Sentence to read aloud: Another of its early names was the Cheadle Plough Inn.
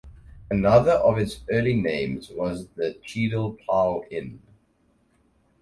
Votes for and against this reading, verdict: 4, 0, accepted